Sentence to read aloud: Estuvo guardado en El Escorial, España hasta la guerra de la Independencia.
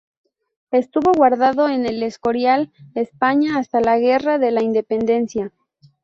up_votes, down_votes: 2, 0